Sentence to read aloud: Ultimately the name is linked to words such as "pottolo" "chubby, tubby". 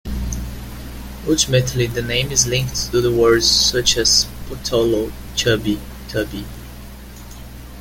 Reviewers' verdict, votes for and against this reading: accepted, 2, 1